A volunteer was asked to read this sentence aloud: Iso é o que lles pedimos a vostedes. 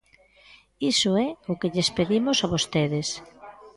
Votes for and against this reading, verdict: 2, 0, accepted